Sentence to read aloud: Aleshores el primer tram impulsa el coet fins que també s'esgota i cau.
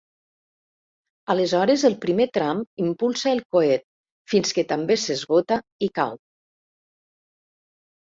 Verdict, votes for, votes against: accepted, 2, 0